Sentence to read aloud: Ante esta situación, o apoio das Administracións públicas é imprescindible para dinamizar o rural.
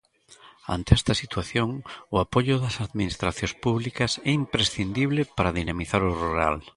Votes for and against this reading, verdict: 2, 0, accepted